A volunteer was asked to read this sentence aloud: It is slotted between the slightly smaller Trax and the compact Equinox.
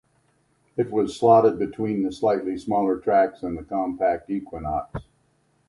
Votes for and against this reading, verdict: 1, 2, rejected